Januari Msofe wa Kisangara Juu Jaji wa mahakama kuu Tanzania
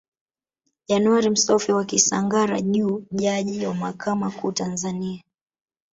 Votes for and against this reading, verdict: 0, 2, rejected